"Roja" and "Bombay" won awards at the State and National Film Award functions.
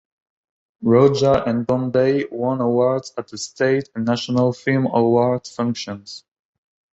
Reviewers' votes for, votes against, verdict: 1, 2, rejected